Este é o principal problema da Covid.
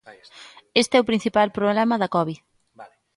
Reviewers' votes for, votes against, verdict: 0, 2, rejected